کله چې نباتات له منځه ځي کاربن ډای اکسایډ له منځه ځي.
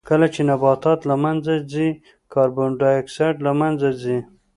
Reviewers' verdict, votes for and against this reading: accepted, 2, 0